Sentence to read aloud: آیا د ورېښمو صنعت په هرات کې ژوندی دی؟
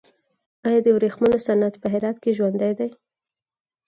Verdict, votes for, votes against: accepted, 4, 0